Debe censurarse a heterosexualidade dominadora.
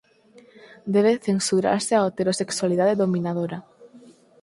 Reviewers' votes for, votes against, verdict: 4, 0, accepted